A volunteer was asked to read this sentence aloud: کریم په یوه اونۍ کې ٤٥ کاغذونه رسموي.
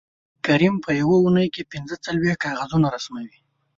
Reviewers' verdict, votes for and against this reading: rejected, 0, 2